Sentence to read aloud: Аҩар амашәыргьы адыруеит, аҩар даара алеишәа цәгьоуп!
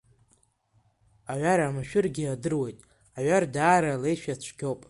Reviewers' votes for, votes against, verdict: 3, 2, accepted